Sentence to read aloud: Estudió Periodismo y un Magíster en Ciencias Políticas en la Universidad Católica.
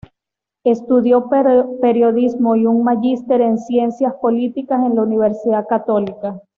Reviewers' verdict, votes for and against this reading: accepted, 2, 0